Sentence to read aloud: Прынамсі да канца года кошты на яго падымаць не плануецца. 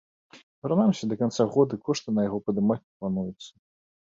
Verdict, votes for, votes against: accepted, 2, 0